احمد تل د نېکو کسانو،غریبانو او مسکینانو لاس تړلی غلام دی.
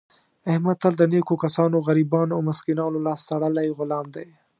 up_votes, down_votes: 2, 0